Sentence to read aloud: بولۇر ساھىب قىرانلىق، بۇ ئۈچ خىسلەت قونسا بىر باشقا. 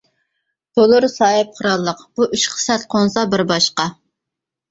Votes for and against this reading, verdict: 1, 2, rejected